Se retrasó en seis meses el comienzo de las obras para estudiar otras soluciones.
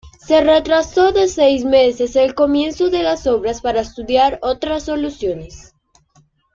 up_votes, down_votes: 0, 2